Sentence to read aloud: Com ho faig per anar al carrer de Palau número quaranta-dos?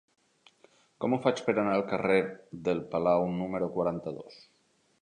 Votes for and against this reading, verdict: 0, 2, rejected